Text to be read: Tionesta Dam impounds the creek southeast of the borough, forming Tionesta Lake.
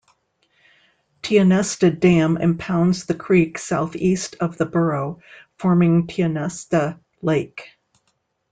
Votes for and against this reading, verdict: 2, 0, accepted